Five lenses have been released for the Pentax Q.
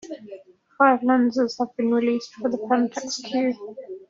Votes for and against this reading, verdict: 0, 2, rejected